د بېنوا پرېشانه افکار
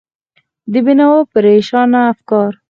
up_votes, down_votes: 4, 0